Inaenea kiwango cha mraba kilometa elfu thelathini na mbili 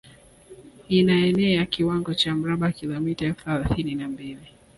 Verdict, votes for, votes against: accepted, 7, 0